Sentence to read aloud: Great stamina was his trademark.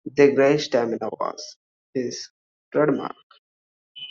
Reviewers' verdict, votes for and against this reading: rejected, 0, 2